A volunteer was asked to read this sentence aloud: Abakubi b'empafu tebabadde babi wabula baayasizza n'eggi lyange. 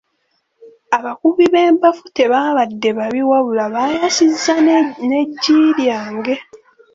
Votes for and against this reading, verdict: 2, 1, accepted